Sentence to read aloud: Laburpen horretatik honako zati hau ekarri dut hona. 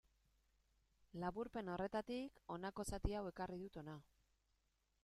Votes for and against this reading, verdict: 2, 0, accepted